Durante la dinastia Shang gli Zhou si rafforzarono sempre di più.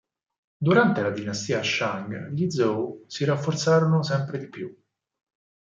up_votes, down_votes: 4, 0